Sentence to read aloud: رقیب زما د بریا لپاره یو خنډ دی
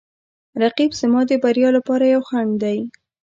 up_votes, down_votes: 2, 0